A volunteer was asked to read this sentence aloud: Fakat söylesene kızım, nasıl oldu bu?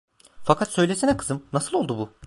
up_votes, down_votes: 2, 0